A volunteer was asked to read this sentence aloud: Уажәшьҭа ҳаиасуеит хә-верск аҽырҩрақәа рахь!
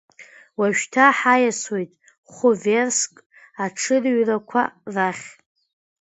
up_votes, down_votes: 2, 1